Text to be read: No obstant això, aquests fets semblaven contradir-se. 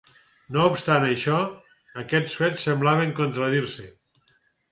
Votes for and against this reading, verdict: 4, 0, accepted